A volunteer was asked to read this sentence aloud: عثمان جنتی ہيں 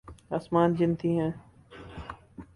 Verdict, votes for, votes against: rejected, 0, 4